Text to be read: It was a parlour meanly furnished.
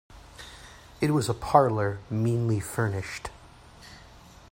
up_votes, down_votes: 2, 0